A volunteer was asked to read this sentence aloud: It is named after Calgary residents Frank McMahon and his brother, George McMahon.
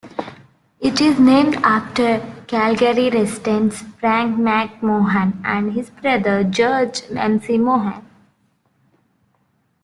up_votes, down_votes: 0, 2